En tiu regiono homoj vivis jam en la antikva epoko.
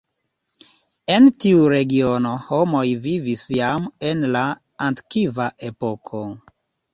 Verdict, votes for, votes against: accepted, 2, 0